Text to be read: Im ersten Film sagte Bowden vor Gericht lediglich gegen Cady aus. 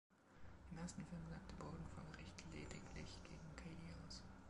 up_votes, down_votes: 1, 2